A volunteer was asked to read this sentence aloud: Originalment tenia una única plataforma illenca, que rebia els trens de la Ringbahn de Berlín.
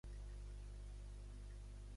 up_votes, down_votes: 0, 2